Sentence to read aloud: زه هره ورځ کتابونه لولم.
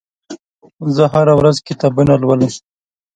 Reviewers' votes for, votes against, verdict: 2, 0, accepted